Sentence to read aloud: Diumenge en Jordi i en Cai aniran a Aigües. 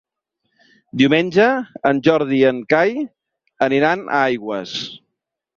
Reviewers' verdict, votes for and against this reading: accepted, 3, 0